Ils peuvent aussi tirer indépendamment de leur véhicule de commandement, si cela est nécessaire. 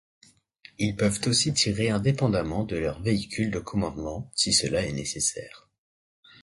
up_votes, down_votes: 2, 0